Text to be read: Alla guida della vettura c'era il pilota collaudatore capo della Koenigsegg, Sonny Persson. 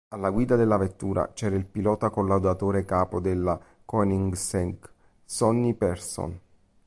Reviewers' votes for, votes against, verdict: 2, 0, accepted